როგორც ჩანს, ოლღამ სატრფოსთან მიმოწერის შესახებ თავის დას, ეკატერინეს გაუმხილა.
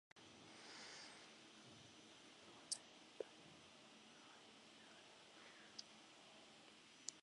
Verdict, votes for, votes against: rejected, 1, 2